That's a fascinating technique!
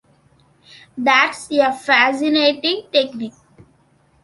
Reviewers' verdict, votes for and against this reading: rejected, 1, 2